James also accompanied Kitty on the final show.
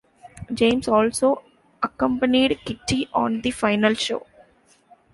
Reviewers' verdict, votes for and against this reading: accepted, 2, 0